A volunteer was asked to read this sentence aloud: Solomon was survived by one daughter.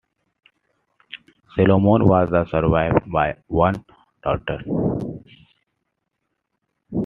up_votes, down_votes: 2, 1